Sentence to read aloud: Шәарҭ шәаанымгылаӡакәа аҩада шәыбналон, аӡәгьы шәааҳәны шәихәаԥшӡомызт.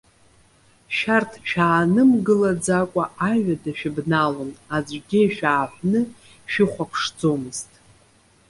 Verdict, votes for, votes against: rejected, 0, 2